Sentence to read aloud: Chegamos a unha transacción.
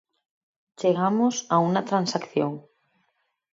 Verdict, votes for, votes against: rejected, 0, 4